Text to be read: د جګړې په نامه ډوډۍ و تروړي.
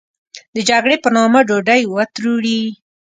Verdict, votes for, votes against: accepted, 2, 0